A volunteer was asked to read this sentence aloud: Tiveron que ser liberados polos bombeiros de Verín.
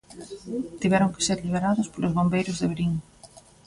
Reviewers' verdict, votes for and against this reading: accepted, 2, 1